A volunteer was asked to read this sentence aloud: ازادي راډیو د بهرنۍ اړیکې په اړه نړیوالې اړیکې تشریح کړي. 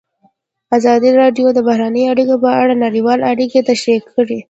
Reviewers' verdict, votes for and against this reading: accepted, 2, 0